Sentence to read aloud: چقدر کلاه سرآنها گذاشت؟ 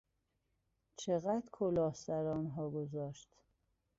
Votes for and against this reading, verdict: 2, 1, accepted